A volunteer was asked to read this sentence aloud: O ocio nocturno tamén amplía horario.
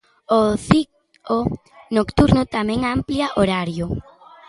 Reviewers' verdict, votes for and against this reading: rejected, 0, 2